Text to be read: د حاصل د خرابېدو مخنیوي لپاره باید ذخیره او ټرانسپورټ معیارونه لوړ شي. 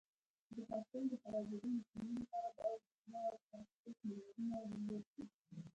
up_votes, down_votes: 1, 2